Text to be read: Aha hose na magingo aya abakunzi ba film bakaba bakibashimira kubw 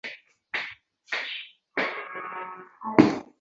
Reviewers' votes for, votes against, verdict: 0, 2, rejected